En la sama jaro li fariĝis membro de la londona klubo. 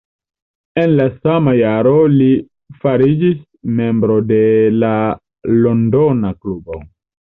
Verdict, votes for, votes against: accepted, 2, 0